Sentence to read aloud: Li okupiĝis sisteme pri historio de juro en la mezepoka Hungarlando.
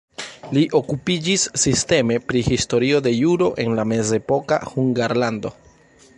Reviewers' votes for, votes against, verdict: 2, 0, accepted